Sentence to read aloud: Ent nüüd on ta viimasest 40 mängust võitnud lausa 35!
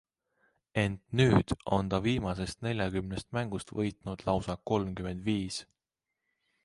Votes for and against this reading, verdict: 0, 2, rejected